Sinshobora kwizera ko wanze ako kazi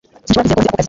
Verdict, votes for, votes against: rejected, 0, 2